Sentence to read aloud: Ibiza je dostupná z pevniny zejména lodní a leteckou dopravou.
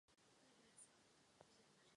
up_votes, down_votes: 0, 2